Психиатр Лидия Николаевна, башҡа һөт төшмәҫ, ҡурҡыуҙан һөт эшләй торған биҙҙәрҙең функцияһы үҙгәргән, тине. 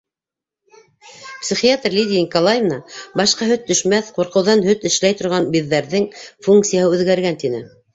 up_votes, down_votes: 0, 2